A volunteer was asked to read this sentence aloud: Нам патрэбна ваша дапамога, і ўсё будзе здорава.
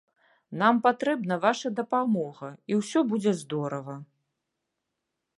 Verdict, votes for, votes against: accepted, 2, 0